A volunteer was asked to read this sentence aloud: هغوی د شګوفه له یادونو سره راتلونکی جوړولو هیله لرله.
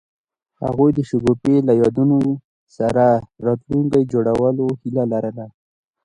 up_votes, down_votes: 0, 2